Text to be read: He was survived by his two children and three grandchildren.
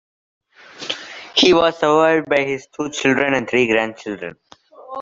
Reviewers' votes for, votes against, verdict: 2, 0, accepted